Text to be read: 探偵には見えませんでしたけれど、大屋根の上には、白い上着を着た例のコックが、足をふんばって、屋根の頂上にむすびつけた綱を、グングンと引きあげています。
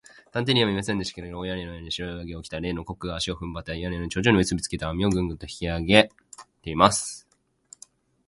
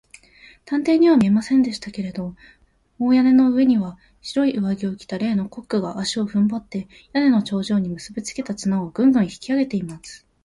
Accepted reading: second